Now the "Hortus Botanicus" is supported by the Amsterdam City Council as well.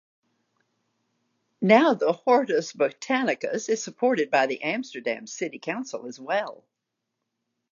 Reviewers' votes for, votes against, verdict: 2, 0, accepted